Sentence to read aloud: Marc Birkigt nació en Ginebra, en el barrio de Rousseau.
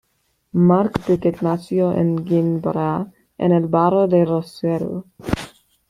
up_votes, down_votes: 1, 2